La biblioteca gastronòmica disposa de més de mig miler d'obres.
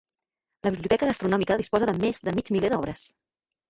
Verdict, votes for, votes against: rejected, 1, 2